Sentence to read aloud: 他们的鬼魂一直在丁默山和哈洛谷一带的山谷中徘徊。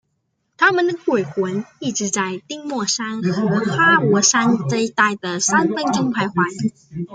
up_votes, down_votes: 1, 2